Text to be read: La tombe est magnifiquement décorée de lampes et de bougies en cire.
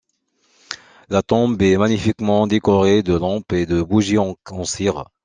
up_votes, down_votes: 2, 0